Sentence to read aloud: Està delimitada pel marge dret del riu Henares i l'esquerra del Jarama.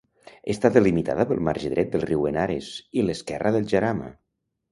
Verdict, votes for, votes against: rejected, 0, 2